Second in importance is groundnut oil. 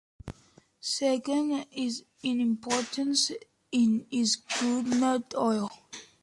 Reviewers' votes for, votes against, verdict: 0, 2, rejected